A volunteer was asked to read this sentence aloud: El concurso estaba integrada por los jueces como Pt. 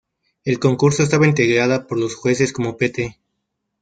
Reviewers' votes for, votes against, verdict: 0, 2, rejected